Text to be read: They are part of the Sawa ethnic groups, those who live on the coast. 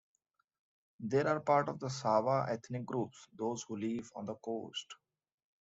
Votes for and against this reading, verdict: 2, 0, accepted